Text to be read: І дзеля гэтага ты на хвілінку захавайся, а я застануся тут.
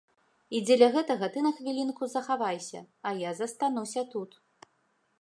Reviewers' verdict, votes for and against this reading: accepted, 2, 0